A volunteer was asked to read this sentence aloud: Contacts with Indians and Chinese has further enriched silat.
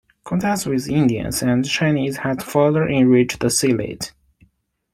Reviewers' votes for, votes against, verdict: 2, 0, accepted